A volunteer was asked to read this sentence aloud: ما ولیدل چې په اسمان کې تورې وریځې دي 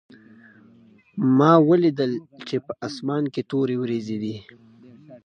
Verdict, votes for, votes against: accepted, 2, 0